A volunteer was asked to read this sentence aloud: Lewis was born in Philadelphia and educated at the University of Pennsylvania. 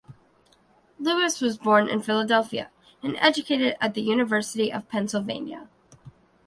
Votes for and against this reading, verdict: 1, 2, rejected